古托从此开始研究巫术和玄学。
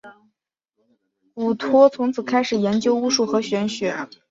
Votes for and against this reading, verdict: 2, 0, accepted